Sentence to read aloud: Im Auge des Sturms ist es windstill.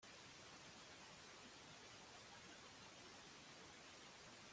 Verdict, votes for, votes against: rejected, 0, 2